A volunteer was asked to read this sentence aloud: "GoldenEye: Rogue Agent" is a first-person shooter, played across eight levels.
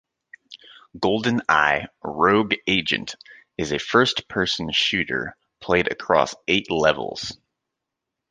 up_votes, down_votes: 2, 0